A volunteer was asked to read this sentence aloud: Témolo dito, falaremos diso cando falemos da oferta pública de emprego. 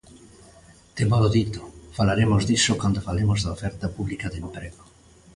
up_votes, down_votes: 2, 0